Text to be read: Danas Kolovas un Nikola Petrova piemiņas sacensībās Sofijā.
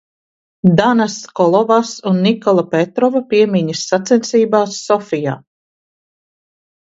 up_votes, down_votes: 2, 0